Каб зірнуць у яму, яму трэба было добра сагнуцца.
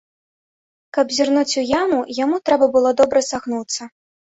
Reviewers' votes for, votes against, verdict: 2, 0, accepted